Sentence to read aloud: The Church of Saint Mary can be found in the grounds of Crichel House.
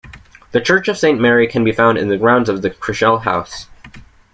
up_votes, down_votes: 1, 2